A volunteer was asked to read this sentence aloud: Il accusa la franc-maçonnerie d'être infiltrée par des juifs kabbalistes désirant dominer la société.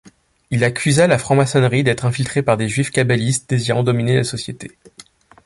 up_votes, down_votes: 2, 0